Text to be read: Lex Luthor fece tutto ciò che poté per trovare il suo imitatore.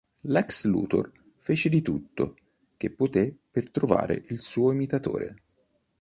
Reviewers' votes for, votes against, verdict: 0, 2, rejected